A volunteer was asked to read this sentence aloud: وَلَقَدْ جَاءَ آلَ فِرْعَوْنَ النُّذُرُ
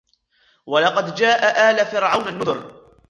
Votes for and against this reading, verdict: 0, 3, rejected